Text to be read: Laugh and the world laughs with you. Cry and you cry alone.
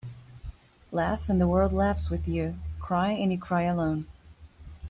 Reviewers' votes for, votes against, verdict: 2, 0, accepted